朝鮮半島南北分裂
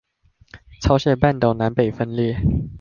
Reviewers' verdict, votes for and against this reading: accepted, 2, 0